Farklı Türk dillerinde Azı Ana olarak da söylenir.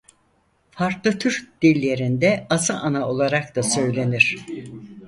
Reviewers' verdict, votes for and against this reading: rejected, 0, 4